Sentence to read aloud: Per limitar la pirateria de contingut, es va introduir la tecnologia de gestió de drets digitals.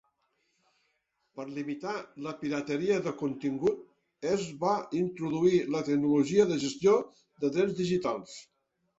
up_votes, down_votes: 1, 2